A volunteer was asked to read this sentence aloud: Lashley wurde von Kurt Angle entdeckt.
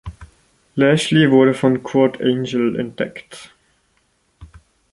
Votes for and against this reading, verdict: 0, 2, rejected